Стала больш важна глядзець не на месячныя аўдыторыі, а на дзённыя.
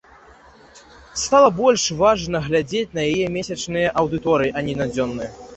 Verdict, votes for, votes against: rejected, 1, 2